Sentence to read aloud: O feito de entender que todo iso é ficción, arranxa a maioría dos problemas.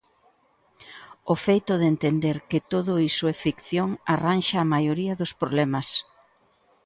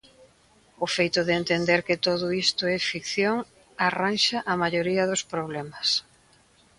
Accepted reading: first